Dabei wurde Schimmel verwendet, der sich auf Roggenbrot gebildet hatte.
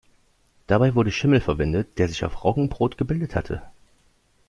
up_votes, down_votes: 2, 0